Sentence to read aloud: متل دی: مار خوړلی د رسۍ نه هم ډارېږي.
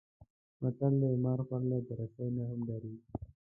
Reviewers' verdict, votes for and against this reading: rejected, 0, 2